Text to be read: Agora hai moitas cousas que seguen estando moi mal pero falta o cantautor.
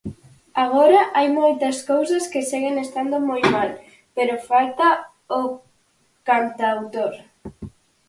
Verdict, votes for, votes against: rejected, 2, 2